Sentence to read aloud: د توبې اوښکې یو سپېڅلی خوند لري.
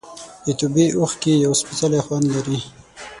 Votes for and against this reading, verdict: 6, 3, accepted